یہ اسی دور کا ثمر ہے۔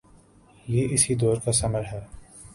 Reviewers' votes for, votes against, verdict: 2, 0, accepted